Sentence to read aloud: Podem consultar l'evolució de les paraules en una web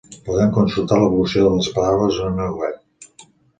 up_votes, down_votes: 2, 0